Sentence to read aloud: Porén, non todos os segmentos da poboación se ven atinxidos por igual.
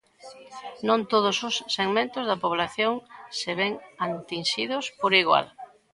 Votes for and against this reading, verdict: 0, 2, rejected